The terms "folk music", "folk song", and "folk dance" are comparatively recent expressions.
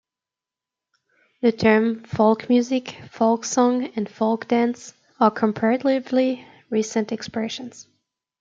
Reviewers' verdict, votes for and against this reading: accepted, 2, 0